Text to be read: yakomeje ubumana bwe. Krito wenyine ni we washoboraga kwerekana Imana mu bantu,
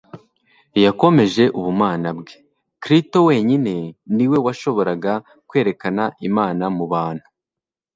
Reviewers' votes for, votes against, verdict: 2, 1, accepted